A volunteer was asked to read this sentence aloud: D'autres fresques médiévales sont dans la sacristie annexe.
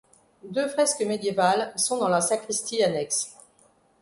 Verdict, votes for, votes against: rejected, 1, 2